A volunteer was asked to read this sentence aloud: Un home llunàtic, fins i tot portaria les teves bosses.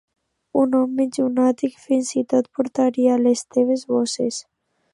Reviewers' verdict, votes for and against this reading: accepted, 2, 0